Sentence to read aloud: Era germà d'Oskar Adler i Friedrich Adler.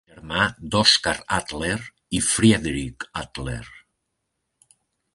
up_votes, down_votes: 1, 2